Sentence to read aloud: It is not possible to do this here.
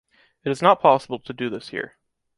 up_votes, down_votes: 2, 0